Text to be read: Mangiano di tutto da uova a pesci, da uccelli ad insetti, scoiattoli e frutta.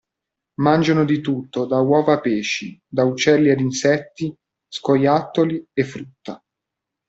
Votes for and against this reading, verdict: 2, 0, accepted